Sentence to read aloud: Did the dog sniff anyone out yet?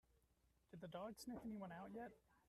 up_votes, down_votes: 0, 2